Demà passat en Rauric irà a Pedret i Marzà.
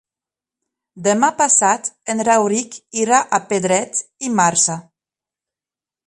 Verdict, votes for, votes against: rejected, 1, 2